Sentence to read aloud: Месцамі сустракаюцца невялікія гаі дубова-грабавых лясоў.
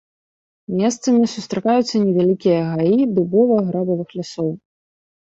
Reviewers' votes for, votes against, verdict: 2, 0, accepted